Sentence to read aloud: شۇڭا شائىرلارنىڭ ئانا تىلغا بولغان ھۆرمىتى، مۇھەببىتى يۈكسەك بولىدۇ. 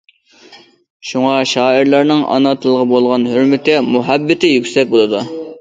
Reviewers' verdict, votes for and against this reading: accepted, 2, 0